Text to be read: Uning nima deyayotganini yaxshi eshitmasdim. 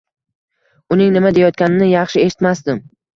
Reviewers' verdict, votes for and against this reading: rejected, 1, 2